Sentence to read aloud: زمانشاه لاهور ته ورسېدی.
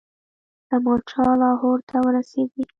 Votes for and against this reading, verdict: 1, 2, rejected